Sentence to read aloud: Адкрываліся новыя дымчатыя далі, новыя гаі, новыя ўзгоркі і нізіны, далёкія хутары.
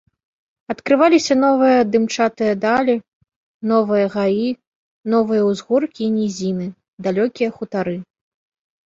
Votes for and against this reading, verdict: 1, 2, rejected